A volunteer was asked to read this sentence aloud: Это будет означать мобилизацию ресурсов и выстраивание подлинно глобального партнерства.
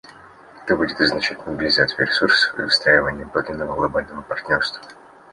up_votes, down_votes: 2, 0